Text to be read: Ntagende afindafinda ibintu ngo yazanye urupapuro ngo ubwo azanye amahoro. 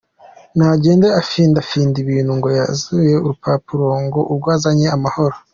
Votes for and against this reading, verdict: 3, 0, accepted